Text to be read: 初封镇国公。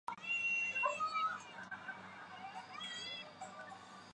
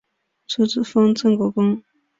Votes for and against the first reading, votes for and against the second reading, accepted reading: 0, 3, 3, 1, second